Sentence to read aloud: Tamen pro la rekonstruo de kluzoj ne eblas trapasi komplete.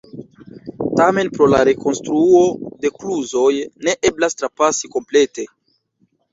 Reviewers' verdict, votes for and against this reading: rejected, 0, 2